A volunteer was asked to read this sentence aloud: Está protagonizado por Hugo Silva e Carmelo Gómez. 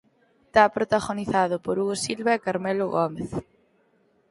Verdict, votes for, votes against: rejected, 0, 4